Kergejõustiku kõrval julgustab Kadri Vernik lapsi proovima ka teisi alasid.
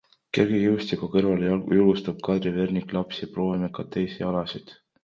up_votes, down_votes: 0, 2